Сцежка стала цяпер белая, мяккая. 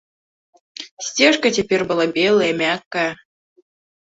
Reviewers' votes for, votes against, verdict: 1, 2, rejected